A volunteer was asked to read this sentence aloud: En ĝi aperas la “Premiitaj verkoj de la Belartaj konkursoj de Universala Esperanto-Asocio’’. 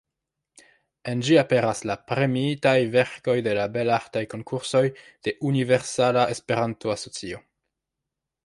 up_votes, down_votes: 1, 2